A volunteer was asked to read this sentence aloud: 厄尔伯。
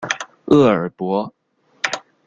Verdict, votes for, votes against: accepted, 2, 0